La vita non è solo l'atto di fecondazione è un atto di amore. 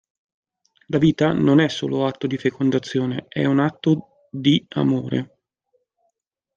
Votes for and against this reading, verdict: 0, 2, rejected